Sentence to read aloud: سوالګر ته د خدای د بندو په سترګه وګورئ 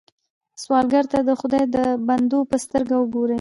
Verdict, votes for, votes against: rejected, 0, 2